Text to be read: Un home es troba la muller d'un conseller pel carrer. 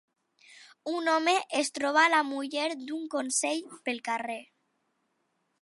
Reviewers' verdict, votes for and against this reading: rejected, 0, 2